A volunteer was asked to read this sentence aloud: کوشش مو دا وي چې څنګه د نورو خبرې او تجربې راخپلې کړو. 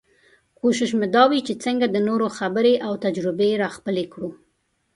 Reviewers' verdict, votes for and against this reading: accepted, 2, 1